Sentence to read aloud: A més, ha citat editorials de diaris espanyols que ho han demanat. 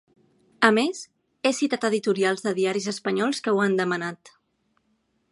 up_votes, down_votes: 1, 2